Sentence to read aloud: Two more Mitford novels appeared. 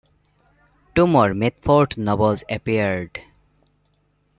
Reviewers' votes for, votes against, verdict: 2, 1, accepted